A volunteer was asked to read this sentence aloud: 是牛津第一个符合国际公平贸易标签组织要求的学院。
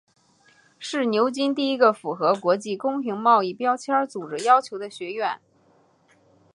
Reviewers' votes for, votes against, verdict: 3, 0, accepted